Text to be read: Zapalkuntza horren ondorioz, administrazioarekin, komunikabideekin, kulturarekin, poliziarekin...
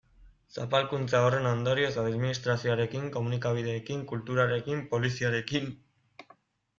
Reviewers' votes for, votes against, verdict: 2, 0, accepted